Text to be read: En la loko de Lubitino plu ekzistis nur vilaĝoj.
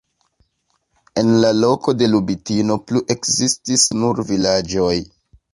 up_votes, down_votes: 2, 0